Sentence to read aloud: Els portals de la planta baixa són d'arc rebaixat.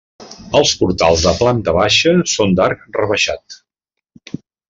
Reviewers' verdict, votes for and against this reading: rejected, 0, 2